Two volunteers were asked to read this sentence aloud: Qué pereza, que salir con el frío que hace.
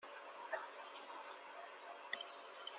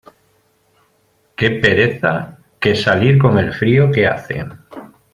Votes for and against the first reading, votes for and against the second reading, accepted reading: 0, 2, 2, 0, second